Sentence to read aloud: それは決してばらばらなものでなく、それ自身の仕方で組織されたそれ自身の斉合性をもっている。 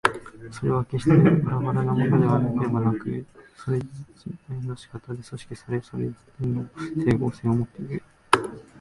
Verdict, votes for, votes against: rejected, 2, 3